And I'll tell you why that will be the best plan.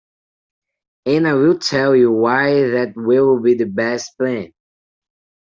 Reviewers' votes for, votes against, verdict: 0, 2, rejected